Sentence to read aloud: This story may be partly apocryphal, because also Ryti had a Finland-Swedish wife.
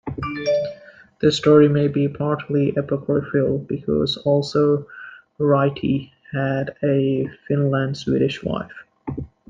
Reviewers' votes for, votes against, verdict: 2, 1, accepted